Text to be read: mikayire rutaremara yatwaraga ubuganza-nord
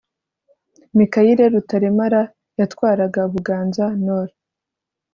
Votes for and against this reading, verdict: 2, 0, accepted